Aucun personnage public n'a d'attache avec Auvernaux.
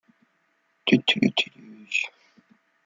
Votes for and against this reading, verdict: 0, 2, rejected